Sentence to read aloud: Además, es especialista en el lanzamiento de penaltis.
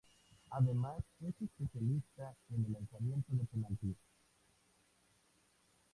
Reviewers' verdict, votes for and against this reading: accepted, 2, 0